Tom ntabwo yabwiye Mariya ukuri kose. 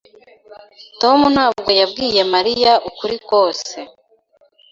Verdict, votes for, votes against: accepted, 2, 0